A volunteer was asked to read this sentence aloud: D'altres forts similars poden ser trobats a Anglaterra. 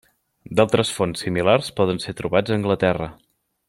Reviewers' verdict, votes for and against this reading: rejected, 0, 2